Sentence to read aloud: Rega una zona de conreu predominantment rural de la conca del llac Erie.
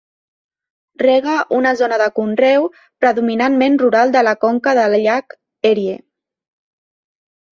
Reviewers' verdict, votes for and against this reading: accepted, 2, 0